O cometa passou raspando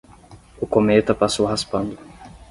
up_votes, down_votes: 10, 0